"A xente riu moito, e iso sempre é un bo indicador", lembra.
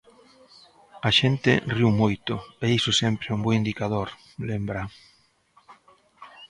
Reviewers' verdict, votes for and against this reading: accepted, 2, 0